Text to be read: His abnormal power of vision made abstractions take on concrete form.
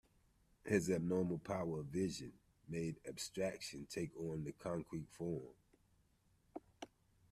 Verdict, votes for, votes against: rejected, 0, 2